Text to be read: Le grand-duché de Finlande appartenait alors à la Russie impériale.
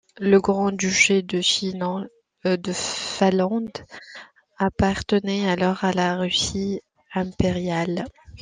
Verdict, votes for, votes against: rejected, 0, 2